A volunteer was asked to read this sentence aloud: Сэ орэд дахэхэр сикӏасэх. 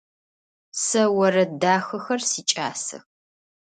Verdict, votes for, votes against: accepted, 2, 0